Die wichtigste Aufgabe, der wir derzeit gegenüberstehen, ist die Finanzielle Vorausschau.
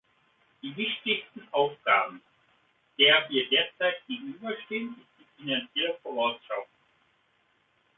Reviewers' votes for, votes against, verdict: 0, 2, rejected